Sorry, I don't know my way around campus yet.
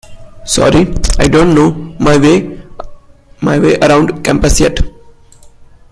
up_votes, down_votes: 0, 2